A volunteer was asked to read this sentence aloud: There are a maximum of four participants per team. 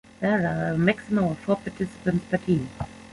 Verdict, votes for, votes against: rejected, 0, 2